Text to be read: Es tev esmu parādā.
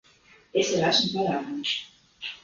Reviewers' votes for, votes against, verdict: 1, 2, rejected